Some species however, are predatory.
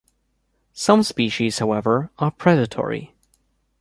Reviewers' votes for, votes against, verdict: 2, 0, accepted